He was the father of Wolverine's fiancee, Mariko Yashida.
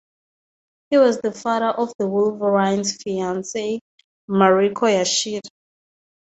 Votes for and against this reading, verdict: 0, 2, rejected